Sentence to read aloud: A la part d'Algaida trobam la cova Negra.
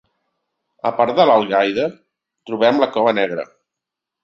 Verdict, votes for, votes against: rejected, 0, 2